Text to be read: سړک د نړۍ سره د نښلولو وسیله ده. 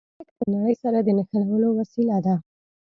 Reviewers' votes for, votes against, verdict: 1, 2, rejected